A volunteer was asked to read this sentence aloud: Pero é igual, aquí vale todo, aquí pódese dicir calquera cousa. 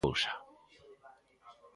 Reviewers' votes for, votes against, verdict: 0, 2, rejected